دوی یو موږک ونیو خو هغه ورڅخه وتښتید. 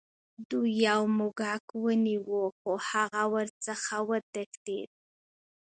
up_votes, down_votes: 2, 0